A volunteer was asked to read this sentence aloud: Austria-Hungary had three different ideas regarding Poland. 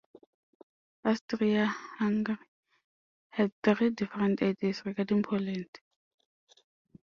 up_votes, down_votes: 1, 2